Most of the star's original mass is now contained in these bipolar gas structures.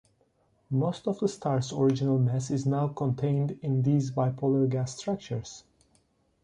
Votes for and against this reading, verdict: 2, 0, accepted